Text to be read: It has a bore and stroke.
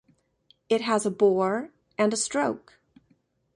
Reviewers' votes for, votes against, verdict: 0, 2, rejected